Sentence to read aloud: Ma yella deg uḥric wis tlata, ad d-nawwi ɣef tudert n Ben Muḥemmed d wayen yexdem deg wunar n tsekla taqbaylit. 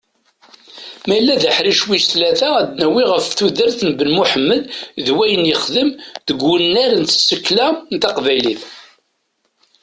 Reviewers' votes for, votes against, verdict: 2, 1, accepted